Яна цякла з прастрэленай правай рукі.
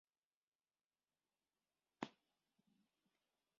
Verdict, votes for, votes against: rejected, 0, 2